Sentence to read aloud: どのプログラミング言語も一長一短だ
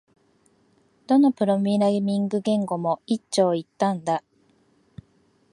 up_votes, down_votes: 1, 2